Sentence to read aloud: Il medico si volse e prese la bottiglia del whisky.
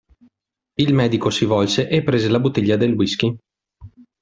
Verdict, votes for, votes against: accepted, 2, 0